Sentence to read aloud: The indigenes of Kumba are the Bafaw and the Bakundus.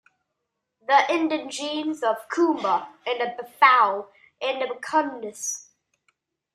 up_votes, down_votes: 0, 2